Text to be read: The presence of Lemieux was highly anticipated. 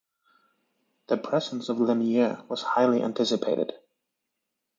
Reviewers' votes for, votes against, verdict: 2, 0, accepted